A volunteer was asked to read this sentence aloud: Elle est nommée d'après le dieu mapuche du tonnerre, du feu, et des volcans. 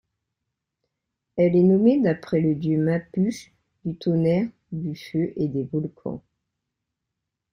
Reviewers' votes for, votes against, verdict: 2, 0, accepted